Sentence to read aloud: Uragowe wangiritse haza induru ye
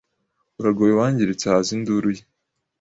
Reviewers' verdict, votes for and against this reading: accepted, 2, 0